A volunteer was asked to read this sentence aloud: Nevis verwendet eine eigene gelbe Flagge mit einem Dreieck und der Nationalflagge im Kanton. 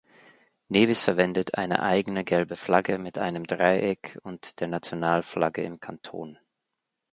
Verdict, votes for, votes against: accepted, 2, 0